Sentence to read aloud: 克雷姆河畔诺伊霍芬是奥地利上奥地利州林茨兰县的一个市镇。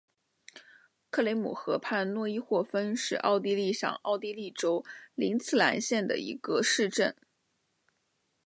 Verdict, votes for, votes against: accepted, 5, 0